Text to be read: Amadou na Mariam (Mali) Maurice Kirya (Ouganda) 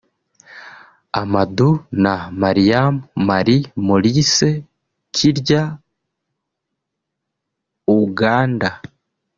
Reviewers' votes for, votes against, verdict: 0, 2, rejected